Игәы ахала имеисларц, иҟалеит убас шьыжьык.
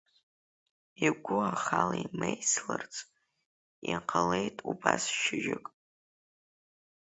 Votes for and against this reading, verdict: 3, 0, accepted